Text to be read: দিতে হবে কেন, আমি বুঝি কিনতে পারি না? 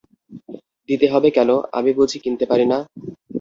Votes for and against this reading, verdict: 0, 2, rejected